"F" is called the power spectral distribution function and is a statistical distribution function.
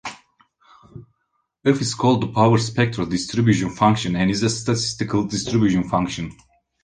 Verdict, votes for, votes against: accepted, 2, 0